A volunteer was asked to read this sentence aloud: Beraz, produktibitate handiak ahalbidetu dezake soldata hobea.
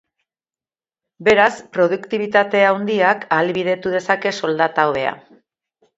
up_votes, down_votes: 1, 2